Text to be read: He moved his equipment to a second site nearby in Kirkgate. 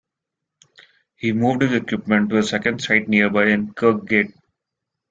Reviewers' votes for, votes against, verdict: 1, 2, rejected